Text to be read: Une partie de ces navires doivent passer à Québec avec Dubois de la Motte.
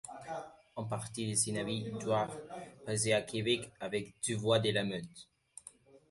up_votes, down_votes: 0, 2